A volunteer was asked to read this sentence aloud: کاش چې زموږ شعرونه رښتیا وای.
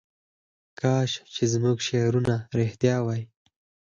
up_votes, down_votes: 4, 0